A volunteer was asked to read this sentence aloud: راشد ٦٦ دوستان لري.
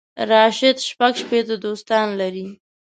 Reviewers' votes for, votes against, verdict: 0, 2, rejected